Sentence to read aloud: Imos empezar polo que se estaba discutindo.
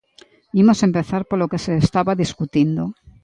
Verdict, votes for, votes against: rejected, 0, 2